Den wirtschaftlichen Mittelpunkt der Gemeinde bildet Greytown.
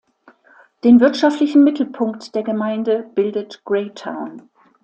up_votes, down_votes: 2, 0